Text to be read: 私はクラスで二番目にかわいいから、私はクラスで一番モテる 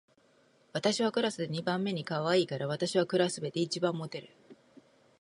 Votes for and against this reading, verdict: 2, 0, accepted